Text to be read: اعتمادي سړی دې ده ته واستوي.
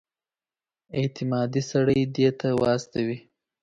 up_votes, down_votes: 6, 2